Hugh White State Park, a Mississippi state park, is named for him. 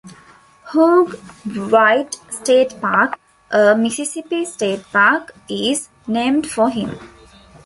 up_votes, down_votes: 2, 0